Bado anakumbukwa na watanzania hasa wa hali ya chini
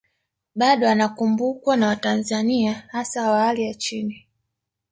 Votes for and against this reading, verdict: 1, 2, rejected